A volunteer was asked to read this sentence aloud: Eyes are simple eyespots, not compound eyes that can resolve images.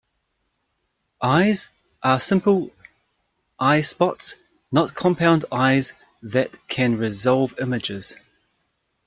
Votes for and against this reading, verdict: 2, 1, accepted